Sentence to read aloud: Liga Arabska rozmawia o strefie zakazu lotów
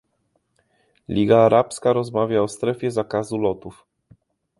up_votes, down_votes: 2, 0